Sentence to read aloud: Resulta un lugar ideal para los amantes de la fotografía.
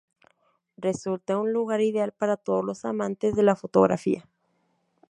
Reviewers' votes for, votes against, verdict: 0, 2, rejected